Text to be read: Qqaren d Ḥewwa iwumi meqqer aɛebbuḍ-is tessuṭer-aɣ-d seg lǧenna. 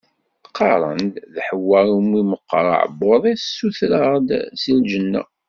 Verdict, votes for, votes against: rejected, 1, 2